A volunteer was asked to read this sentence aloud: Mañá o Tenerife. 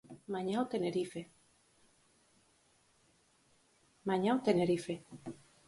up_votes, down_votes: 0, 4